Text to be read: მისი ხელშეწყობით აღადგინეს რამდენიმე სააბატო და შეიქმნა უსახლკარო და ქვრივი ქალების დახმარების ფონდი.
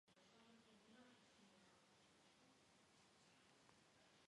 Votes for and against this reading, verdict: 1, 2, rejected